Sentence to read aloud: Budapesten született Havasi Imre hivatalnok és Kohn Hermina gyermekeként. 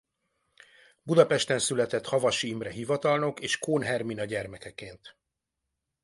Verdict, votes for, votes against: accepted, 2, 1